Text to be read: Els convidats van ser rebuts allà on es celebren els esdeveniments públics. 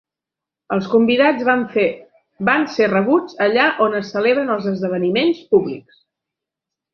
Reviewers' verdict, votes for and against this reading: rejected, 0, 3